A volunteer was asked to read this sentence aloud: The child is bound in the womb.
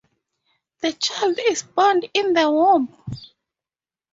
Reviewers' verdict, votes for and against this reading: accepted, 2, 0